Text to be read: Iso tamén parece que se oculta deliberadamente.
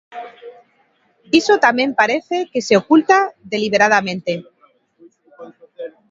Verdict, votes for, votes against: accepted, 2, 0